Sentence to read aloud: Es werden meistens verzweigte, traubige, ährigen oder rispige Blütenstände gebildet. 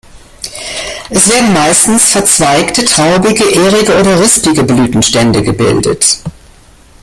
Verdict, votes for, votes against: rejected, 0, 2